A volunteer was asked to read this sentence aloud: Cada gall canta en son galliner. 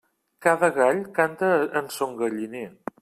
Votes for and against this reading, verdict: 1, 2, rejected